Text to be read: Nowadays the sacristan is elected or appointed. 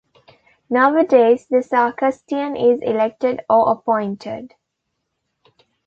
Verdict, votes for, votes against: accepted, 2, 0